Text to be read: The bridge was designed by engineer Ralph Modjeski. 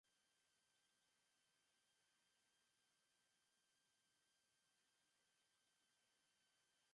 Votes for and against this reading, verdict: 0, 2, rejected